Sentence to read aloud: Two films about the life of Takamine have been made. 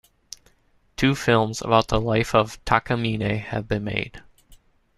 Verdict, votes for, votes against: accepted, 2, 0